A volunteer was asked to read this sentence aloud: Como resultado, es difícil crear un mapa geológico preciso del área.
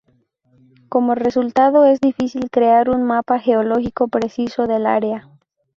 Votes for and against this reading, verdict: 0, 2, rejected